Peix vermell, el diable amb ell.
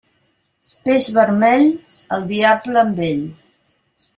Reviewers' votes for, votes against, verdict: 2, 0, accepted